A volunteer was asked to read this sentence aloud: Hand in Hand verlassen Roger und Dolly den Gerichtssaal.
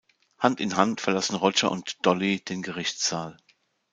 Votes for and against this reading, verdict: 2, 1, accepted